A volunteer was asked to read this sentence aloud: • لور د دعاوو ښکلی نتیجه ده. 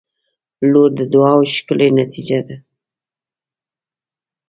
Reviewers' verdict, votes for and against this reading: accepted, 3, 1